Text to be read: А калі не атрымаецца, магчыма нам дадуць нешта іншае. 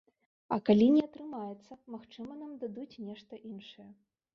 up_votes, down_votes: 1, 2